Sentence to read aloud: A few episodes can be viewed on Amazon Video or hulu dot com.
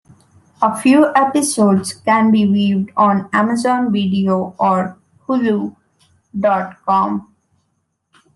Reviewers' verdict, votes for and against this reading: accepted, 2, 0